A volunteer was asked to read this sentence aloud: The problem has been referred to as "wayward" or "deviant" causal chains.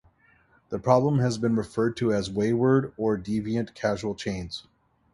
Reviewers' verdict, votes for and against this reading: rejected, 0, 2